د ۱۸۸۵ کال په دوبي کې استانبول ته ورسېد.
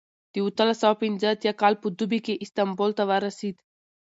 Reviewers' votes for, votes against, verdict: 0, 2, rejected